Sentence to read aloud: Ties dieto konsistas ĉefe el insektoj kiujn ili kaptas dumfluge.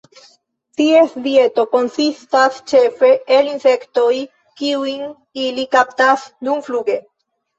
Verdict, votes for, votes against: rejected, 0, 2